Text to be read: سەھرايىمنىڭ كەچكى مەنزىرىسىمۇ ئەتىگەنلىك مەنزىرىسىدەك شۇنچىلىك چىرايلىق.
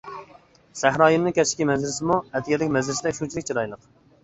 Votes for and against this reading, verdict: 1, 2, rejected